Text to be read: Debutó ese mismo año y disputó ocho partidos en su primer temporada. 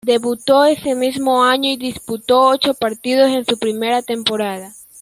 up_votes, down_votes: 2, 1